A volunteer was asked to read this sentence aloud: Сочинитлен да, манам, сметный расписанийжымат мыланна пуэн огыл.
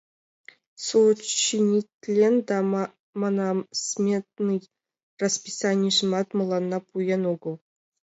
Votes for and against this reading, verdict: 1, 2, rejected